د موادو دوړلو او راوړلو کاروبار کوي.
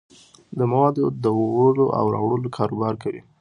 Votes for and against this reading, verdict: 2, 1, accepted